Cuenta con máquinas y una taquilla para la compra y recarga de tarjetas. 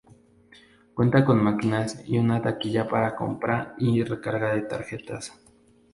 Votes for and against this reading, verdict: 0, 2, rejected